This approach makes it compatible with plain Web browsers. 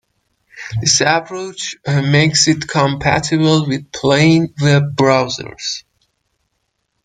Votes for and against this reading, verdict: 2, 1, accepted